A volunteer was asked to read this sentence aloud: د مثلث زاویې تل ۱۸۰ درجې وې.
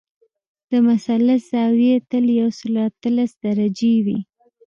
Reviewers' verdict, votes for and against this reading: rejected, 0, 2